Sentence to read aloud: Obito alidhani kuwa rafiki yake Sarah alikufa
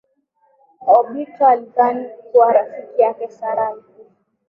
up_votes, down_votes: 9, 5